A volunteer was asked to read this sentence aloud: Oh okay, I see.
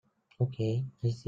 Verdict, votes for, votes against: rejected, 0, 2